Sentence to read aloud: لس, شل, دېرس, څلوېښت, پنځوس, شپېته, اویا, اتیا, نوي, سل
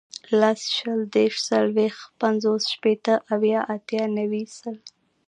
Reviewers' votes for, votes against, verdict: 2, 0, accepted